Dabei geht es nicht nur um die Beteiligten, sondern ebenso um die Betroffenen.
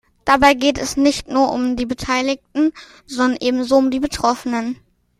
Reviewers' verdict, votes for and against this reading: accepted, 2, 0